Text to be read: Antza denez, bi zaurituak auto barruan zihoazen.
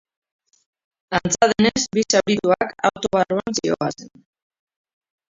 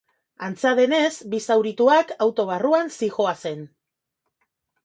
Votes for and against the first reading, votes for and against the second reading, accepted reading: 2, 2, 3, 0, second